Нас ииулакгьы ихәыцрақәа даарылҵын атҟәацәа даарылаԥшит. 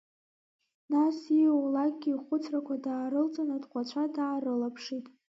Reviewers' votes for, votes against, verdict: 1, 2, rejected